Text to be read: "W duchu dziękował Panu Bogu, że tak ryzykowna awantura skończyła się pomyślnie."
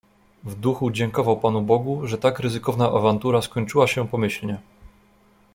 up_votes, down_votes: 2, 0